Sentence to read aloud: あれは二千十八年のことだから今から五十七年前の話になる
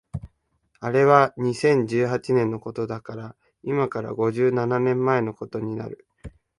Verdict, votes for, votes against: rejected, 1, 2